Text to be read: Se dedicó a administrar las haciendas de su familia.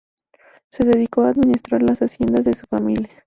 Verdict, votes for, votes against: accepted, 2, 0